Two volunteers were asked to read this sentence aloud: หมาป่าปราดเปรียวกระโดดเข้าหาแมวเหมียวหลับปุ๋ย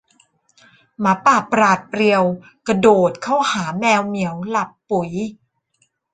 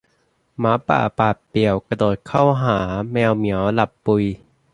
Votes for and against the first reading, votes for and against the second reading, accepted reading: 2, 1, 0, 2, first